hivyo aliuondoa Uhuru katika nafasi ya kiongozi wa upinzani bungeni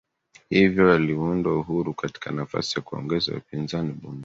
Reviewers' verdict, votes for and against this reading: rejected, 0, 2